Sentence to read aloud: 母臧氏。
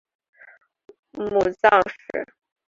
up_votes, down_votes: 3, 0